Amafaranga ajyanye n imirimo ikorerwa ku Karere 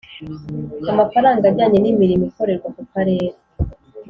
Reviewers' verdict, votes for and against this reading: accepted, 4, 0